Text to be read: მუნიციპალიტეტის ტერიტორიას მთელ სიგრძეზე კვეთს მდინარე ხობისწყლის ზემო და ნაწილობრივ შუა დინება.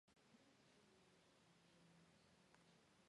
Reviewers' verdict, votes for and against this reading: rejected, 1, 2